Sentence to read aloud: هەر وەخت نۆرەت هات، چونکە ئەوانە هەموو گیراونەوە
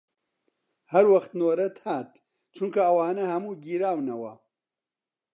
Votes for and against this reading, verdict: 2, 0, accepted